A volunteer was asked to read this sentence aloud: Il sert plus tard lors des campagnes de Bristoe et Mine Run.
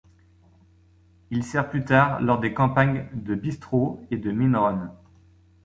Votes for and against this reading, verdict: 0, 2, rejected